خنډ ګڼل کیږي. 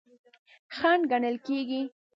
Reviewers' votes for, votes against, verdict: 1, 2, rejected